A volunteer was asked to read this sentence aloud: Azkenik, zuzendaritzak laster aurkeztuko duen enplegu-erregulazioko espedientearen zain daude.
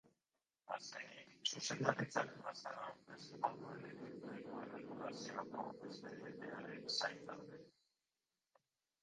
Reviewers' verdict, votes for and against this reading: rejected, 0, 3